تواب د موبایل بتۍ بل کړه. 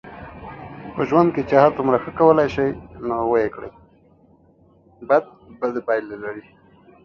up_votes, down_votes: 0, 2